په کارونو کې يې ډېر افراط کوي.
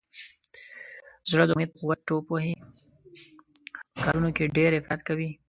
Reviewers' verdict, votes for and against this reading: rejected, 0, 2